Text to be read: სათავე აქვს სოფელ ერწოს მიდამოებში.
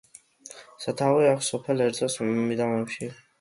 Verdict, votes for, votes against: accepted, 2, 1